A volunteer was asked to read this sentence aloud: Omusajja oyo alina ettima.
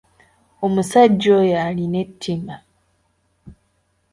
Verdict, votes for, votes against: accepted, 2, 0